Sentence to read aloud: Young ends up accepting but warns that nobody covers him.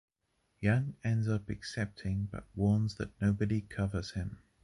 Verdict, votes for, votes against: accepted, 2, 0